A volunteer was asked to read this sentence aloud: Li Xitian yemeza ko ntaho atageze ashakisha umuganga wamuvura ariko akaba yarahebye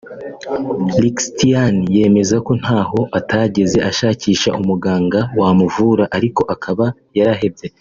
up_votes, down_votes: 1, 2